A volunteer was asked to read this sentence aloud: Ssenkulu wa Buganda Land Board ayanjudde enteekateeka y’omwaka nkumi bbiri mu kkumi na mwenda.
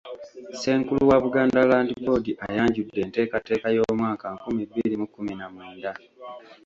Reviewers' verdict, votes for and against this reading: rejected, 1, 2